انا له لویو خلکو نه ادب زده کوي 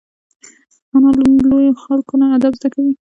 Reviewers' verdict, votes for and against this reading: accepted, 2, 0